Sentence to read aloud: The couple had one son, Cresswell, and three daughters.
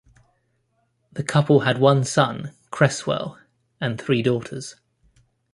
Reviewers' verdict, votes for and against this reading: accepted, 2, 0